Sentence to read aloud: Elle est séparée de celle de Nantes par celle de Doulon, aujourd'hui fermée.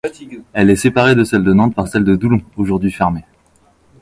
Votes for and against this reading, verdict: 2, 1, accepted